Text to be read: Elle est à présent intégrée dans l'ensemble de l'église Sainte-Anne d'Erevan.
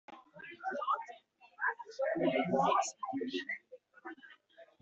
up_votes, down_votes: 0, 2